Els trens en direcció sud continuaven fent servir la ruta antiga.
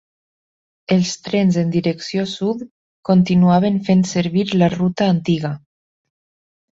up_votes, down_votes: 2, 0